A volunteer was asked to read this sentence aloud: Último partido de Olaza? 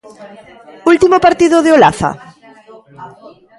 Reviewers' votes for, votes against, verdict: 1, 2, rejected